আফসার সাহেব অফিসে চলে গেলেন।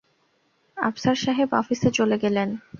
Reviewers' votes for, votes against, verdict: 2, 0, accepted